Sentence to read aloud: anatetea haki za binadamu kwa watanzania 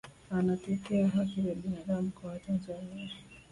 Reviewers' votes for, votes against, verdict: 2, 0, accepted